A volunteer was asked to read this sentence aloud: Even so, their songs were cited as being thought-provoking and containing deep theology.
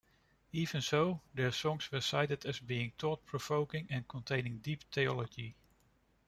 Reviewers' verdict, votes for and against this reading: accepted, 2, 0